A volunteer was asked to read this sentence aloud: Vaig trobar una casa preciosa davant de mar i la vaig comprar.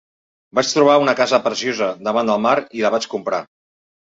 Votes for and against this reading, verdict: 1, 2, rejected